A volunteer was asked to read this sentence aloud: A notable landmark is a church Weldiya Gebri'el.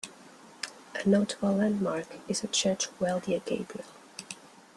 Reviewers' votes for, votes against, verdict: 2, 0, accepted